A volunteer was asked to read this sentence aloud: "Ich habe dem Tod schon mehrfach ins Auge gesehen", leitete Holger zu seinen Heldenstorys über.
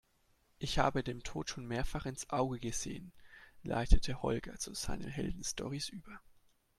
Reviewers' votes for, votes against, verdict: 2, 0, accepted